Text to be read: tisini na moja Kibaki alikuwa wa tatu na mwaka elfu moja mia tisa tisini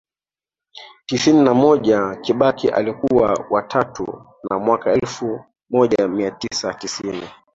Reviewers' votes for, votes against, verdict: 3, 1, accepted